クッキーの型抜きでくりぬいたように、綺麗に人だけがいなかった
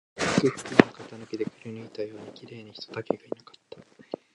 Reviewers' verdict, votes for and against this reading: rejected, 1, 2